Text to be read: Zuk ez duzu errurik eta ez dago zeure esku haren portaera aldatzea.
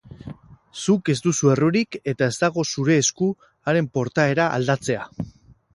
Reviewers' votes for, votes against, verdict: 2, 4, rejected